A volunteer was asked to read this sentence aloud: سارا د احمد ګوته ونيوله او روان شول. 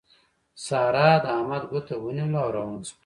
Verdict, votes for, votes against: rejected, 0, 2